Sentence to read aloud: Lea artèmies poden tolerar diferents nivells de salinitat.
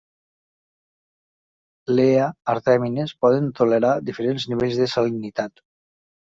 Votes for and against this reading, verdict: 0, 2, rejected